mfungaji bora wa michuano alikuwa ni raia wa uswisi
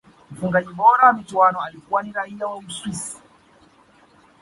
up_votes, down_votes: 2, 0